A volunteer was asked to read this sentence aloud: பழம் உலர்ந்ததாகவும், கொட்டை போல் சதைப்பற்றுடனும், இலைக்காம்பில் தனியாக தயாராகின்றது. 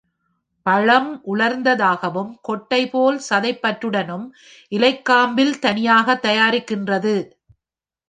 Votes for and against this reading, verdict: 1, 2, rejected